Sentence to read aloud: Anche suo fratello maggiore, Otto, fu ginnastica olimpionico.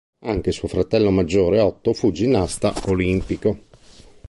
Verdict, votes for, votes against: rejected, 0, 2